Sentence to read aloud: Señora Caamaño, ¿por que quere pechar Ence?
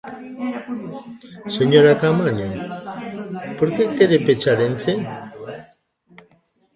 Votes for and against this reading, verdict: 1, 2, rejected